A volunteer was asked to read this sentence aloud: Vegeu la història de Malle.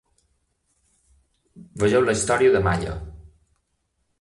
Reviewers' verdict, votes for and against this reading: accepted, 2, 0